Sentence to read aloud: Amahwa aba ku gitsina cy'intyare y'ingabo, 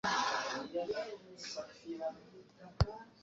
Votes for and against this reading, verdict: 1, 2, rejected